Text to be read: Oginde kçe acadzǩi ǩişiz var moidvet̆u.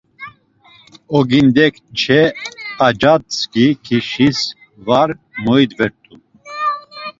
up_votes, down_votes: 0, 2